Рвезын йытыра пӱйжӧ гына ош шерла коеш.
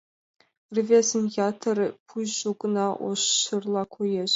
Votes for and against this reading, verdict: 2, 0, accepted